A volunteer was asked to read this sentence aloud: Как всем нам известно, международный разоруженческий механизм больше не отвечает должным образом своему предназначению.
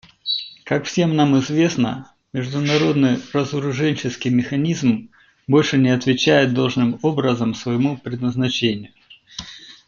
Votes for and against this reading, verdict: 2, 0, accepted